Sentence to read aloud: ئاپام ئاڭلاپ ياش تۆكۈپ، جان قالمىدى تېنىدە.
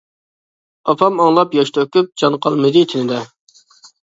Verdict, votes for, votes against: accepted, 2, 0